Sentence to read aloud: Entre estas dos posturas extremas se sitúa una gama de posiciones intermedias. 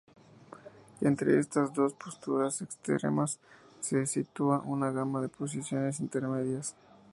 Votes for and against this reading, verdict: 0, 2, rejected